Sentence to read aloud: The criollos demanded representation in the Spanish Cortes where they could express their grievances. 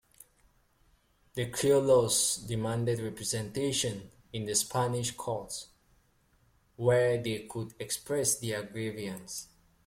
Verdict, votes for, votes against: rejected, 0, 2